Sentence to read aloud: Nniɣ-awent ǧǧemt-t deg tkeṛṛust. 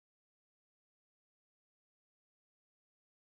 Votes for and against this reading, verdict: 0, 2, rejected